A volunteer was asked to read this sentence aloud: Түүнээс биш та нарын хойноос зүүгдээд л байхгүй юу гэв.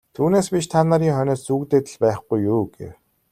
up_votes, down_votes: 2, 0